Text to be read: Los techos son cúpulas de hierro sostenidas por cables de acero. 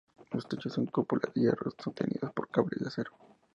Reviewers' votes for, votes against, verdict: 0, 2, rejected